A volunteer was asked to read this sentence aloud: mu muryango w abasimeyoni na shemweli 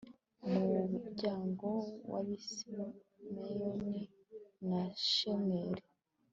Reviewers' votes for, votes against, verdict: 3, 0, accepted